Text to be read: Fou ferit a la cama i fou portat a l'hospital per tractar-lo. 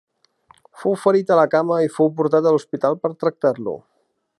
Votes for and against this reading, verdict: 2, 0, accepted